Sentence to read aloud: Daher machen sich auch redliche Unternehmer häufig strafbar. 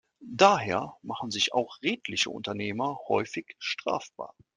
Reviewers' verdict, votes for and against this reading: accepted, 3, 0